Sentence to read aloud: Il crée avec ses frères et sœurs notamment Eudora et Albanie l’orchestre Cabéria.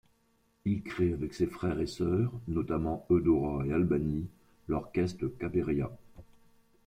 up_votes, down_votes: 2, 0